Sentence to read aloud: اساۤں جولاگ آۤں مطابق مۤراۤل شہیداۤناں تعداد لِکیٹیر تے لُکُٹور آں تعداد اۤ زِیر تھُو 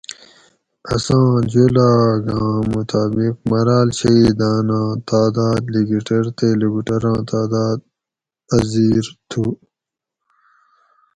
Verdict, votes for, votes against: rejected, 2, 2